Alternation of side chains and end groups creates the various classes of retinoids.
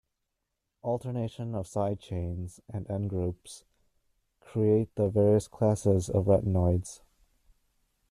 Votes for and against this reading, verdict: 0, 2, rejected